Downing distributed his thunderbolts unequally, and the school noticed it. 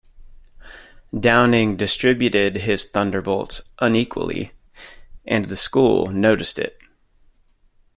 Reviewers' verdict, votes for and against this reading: accepted, 2, 0